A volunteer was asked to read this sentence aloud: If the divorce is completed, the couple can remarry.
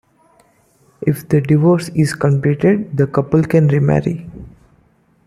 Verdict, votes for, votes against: accepted, 2, 0